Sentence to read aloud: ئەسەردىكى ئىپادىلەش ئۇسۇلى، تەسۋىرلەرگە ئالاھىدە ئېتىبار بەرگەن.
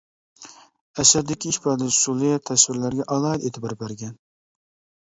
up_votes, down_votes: 2, 0